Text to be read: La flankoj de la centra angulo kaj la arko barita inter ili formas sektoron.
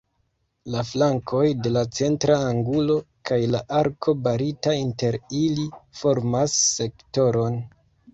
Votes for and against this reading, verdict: 1, 2, rejected